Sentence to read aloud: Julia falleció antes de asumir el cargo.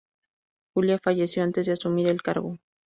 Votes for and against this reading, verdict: 0, 2, rejected